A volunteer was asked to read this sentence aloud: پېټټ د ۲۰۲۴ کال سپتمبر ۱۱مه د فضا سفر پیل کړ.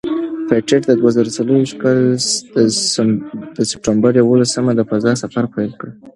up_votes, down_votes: 0, 2